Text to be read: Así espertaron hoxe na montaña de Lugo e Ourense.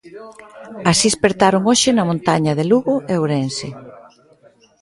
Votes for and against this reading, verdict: 0, 2, rejected